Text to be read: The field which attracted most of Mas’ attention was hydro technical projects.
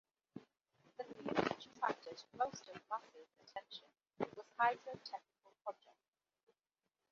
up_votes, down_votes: 0, 2